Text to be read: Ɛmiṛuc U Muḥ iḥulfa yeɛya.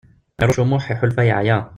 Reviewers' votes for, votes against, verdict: 1, 2, rejected